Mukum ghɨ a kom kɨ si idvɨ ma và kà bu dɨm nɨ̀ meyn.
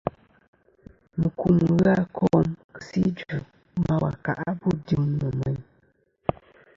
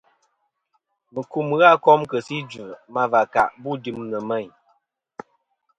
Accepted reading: second